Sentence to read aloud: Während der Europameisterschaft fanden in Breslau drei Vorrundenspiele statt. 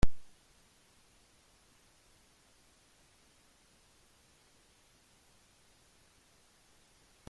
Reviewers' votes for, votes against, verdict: 0, 2, rejected